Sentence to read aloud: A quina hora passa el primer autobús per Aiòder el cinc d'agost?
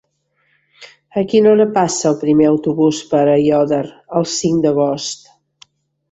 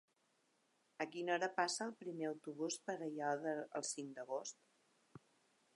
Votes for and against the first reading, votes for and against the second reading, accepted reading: 3, 0, 0, 2, first